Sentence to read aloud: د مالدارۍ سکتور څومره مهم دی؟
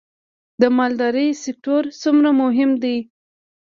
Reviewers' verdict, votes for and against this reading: rejected, 1, 2